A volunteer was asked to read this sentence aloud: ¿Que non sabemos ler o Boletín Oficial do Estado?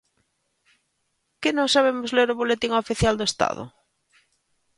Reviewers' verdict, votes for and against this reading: accepted, 2, 0